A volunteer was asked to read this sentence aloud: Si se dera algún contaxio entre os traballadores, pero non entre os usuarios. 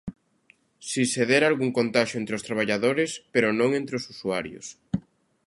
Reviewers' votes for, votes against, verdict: 2, 0, accepted